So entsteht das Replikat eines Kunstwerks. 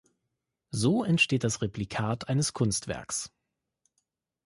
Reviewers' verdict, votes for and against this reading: accepted, 2, 0